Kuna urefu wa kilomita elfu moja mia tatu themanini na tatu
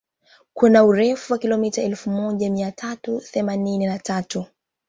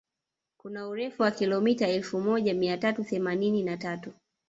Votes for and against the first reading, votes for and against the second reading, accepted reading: 4, 1, 1, 2, first